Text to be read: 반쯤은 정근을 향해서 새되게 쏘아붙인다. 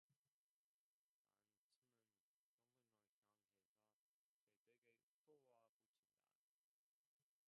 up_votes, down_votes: 0, 2